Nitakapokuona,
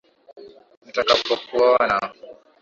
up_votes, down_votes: 2, 1